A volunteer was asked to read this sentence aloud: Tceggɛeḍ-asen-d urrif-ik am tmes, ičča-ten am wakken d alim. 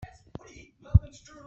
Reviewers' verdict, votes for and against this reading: rejected, 0, 2